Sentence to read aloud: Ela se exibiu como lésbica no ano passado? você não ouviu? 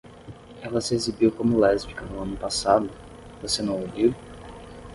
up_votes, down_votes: 10, 0